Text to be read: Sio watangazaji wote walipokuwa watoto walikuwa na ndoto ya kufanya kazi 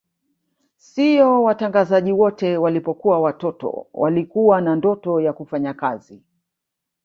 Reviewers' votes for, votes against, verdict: 1, 2, rejected